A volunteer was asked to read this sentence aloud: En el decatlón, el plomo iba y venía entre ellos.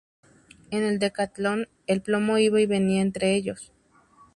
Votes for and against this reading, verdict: 2, 0, accepted